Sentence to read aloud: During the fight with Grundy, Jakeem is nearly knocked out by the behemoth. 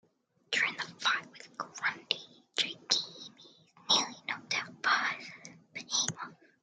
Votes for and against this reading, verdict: 0, 2, rejected